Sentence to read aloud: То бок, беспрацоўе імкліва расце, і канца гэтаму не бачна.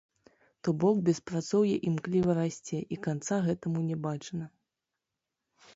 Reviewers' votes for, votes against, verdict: 1, 2, rejected